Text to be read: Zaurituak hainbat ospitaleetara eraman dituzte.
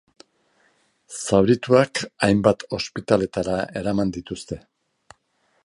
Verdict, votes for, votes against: accepted, 2, 0